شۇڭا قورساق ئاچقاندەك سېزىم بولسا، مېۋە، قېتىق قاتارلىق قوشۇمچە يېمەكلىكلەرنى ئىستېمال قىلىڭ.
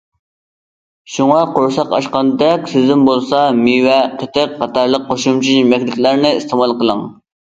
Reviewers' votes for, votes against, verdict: 1, 2, rejected